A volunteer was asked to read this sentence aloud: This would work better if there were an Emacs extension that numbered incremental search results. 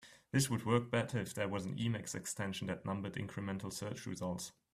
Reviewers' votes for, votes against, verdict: 2, 0, accepted